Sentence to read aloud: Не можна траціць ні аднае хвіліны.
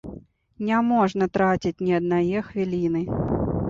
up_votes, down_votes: 2, 0